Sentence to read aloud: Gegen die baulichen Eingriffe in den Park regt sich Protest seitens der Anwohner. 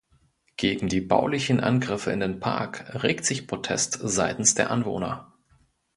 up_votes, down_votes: 1, 2